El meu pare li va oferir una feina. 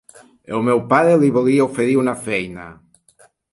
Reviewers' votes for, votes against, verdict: 0, 2, rejected